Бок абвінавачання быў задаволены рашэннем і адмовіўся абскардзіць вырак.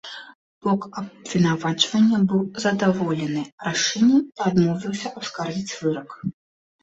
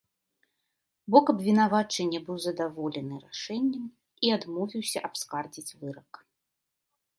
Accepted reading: second